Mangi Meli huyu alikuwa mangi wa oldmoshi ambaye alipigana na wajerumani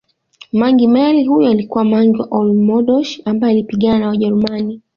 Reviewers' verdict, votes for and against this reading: accepted, 2, 1